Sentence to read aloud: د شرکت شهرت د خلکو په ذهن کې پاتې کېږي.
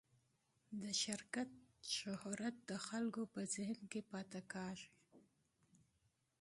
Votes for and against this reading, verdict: 2, 0, accepted